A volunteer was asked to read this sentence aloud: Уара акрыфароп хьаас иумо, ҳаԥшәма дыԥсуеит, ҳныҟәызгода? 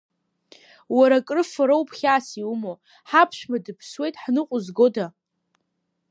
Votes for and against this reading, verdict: 2, 1, accepted